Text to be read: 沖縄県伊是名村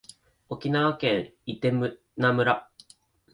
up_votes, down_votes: 1, 2